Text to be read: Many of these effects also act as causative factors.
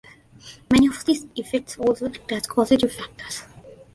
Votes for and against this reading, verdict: 1, 2, rejected